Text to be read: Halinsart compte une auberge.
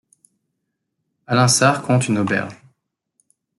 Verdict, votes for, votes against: rejected, 1, 2